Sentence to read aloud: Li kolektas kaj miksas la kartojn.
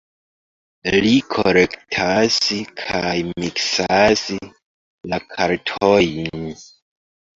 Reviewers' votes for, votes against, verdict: 2, 1, accepted